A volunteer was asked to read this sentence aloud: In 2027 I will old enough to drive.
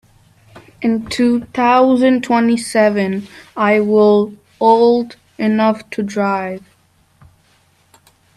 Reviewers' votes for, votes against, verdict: 0, 2, rejected